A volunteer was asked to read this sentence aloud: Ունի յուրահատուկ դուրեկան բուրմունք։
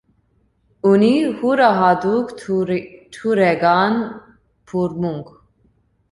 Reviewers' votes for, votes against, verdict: 0, 2, rejected